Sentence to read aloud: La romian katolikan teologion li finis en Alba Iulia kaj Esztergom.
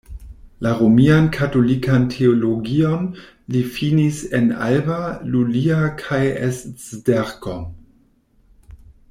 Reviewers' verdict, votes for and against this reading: rejected, 0, 2